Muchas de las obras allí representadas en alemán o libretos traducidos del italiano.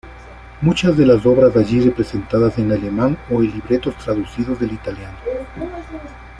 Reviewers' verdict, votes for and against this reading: accepted, 2, 0